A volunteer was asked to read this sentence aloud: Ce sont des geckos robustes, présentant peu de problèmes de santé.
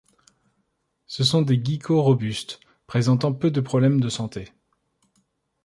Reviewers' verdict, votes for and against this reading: rejected, 1, 2